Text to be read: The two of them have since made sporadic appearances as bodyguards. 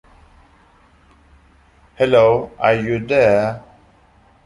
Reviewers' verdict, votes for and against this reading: rejected, 0, 3